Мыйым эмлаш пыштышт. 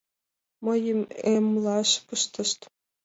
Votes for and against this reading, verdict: 3, 2, accepted